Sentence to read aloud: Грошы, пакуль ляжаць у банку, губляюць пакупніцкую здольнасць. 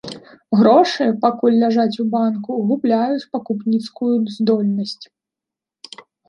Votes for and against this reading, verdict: 2, 0, accepted